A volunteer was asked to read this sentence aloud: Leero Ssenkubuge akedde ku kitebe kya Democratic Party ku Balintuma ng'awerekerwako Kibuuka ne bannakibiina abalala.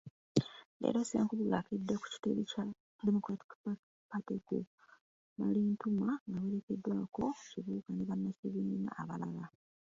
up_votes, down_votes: 0, 2